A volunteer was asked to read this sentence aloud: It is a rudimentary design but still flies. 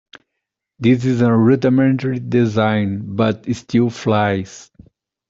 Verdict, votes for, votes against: rejected, 1, 2